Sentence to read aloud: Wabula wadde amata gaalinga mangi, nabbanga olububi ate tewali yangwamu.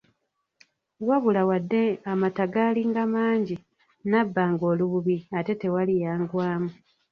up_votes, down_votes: 1, 2